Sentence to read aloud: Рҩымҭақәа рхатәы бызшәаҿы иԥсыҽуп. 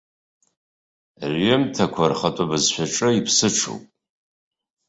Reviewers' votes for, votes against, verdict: 2, 0, accepted